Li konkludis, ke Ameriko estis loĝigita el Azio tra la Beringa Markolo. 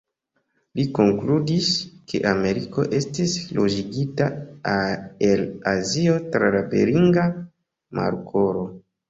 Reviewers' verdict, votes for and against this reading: accepted, 2, 0